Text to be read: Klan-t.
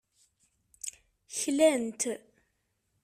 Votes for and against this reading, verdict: 2, 0, accepted